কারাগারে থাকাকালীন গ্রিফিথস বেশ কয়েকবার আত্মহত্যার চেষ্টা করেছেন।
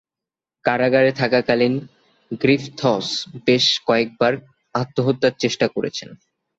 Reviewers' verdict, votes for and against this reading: accepted, 4, 0